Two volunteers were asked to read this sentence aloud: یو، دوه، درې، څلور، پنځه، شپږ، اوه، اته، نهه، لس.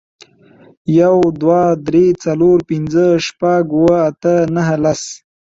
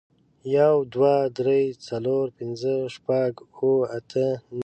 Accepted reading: first